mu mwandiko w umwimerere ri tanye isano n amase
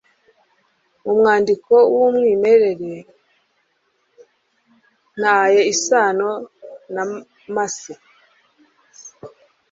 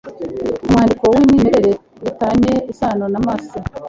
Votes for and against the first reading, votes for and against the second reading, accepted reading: 1, 2, 2, 0, second